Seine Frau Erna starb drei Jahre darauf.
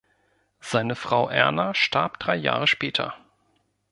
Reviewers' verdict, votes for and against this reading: rejected, 0, 2